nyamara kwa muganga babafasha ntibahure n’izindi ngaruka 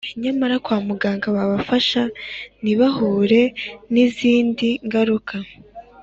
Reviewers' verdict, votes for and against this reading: accepted, 2, 0